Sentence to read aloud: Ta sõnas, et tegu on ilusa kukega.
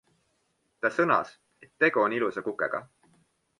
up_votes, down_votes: 2, 0